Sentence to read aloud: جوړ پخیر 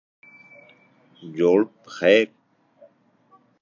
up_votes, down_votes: 2, 0